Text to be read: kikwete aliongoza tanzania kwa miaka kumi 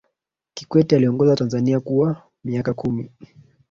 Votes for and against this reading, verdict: 0, 2, rejected